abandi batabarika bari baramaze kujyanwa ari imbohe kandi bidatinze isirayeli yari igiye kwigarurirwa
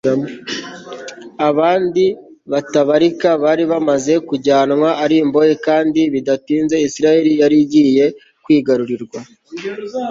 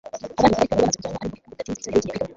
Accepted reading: first